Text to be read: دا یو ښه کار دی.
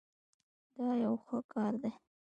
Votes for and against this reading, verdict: 0, 2, rejected